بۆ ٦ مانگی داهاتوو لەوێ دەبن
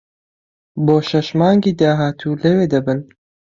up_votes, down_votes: 0, 2